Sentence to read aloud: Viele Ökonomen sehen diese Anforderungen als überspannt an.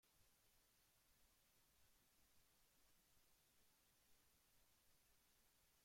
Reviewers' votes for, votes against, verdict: 0, 2, rejected